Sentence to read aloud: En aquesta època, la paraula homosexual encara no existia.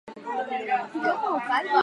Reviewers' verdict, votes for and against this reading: rejected, 2, 4